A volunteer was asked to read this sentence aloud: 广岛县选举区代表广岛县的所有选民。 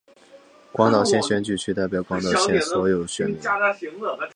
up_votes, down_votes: 6, 2